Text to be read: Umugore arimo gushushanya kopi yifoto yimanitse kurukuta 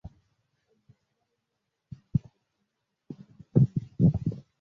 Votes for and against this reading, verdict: 0, 2, rejected